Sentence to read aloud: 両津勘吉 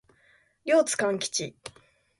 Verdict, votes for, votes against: accepted, 2, 0